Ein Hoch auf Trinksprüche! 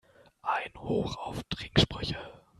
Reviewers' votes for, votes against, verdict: 0, 2, rejected